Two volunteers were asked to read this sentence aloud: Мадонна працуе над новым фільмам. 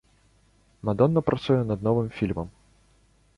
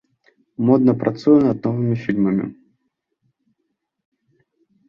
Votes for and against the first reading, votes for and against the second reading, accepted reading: 2, 0, 0, 2, first